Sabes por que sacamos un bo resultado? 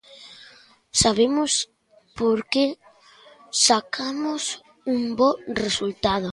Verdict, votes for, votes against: rejected, 0, 2